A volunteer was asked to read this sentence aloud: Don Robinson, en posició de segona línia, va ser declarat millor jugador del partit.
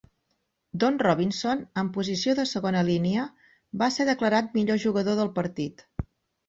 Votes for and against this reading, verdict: 6, 0, accepted